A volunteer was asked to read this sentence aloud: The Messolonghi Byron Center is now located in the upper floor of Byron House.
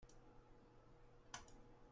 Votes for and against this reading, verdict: 0, 2, rejected